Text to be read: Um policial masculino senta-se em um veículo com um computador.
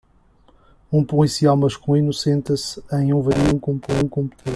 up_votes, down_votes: 0, 2